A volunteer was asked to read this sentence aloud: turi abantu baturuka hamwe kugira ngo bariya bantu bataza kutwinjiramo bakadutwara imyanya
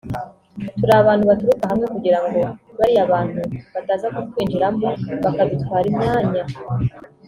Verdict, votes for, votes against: accepted, 2, 0